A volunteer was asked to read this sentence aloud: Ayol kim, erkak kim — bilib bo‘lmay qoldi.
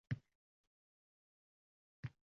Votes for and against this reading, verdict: 0, 2, rejected